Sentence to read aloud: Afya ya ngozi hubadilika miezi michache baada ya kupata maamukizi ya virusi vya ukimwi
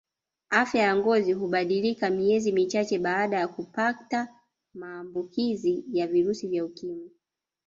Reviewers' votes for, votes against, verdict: 1, 2, rejected